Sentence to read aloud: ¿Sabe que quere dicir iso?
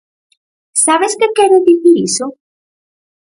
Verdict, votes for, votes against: rejected, 0, 4